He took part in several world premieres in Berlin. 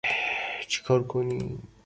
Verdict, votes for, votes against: rejected, 0, 2